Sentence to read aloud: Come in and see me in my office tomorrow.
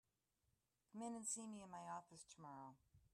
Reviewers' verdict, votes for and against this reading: rejected, 1, 2